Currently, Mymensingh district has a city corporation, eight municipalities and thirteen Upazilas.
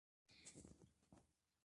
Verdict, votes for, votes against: rejected, 0, 2